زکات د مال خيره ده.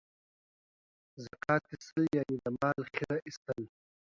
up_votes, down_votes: 1, 2